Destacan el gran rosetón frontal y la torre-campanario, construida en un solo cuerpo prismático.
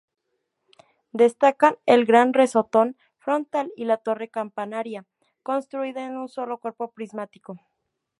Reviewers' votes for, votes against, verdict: 0, 4, rejected